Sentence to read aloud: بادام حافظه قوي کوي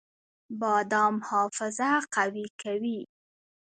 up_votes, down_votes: 2, 0